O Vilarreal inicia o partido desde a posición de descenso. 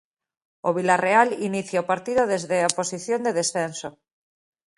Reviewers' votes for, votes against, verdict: 2, 0, accepted